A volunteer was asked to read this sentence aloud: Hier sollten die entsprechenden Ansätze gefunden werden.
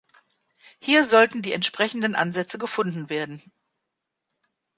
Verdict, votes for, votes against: accepted, 2, 0